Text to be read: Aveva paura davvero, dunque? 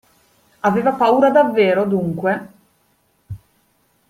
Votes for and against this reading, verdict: 2, 0, accepted